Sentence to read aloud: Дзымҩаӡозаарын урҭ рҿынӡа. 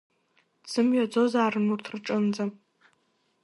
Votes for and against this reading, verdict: 2, 0, accepted